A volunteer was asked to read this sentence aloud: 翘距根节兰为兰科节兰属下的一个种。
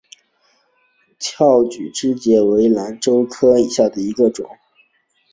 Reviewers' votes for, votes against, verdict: 2, 0, accepted